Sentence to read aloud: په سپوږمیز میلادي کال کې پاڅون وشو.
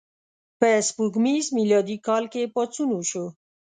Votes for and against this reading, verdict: 2, 0, accepted